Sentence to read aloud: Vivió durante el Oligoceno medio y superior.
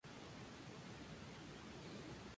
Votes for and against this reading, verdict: 2, 2, rejected